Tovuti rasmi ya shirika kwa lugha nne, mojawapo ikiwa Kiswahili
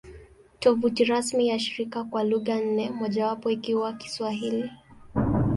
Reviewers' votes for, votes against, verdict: 2, 0, accepted